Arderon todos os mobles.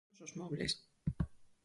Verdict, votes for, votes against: rejected, 0, 4